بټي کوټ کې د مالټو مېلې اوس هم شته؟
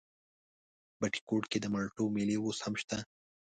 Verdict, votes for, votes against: accepted, 2, 0